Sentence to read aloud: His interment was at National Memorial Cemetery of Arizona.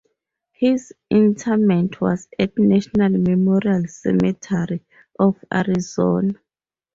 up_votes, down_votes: 0, 2